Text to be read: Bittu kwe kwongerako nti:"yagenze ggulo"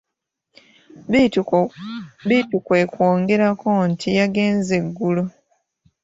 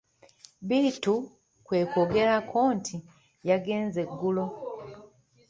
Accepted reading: second